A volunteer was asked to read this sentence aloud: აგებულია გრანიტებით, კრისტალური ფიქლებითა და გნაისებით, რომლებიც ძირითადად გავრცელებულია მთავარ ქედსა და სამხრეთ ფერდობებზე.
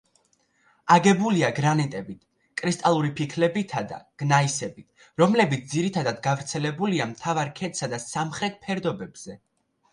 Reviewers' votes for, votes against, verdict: 2, 0, accepted